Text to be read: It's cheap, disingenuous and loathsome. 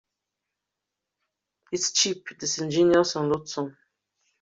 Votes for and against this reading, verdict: 2, 1, accepted